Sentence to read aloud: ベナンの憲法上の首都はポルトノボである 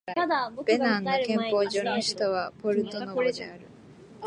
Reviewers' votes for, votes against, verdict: 0, 2, rejected